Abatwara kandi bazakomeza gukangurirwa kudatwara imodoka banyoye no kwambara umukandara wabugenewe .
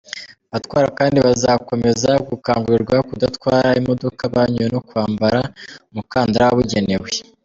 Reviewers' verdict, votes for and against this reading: accepted, 2, 0